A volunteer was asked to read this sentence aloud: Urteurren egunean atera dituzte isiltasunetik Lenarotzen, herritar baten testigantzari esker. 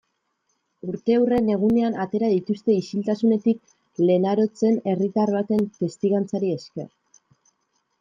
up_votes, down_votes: 2, 0